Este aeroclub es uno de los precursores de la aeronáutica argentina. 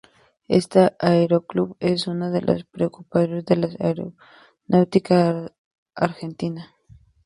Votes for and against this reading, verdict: 0, 2, rejected